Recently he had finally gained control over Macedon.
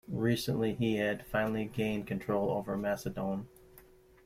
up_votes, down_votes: 2, 0